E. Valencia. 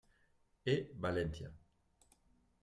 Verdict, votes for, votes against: accepted, 2, 0